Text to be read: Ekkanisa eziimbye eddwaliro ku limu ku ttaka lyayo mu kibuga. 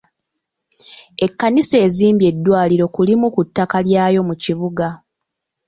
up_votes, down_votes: 2, 1